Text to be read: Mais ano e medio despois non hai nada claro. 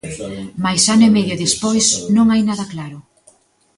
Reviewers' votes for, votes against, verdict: 2, 1, accepted